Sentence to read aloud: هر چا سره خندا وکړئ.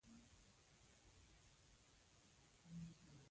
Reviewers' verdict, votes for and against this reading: rejected, 0, 2